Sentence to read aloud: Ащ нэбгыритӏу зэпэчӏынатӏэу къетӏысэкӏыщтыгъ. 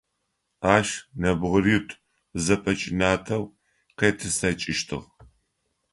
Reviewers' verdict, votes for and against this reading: rejected, 1, 2